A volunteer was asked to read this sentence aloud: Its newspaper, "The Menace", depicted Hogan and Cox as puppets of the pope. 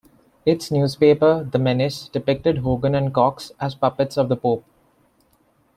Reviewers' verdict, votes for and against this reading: accepted, 2, 0